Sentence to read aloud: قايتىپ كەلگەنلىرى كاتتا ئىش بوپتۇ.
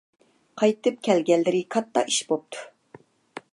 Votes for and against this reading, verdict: 2, 0, accepted